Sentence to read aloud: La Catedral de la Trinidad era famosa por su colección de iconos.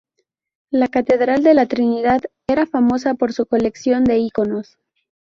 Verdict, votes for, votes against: accepted, 2, 0